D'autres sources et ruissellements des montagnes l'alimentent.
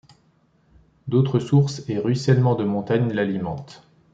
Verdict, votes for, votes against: rejected, 1, 2